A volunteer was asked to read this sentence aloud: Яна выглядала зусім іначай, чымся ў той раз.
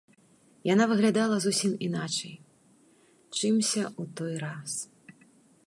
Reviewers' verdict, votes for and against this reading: accepted, 2, 0